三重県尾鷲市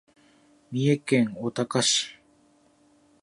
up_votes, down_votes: 1, 2